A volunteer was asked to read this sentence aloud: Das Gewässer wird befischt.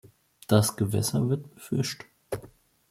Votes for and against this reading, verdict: 2, 0, accepted